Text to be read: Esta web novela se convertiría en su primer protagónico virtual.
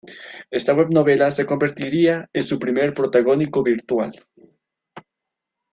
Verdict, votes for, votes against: accepted, 2, 1